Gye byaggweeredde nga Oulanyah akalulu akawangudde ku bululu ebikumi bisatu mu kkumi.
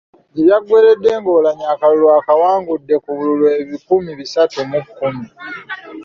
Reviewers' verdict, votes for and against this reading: accepted, 2, 0